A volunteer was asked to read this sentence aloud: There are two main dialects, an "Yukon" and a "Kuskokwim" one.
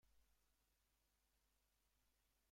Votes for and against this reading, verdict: 0, 2, rejected